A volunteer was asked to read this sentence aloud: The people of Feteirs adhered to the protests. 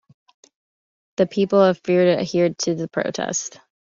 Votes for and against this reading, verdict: 2, 1, accepted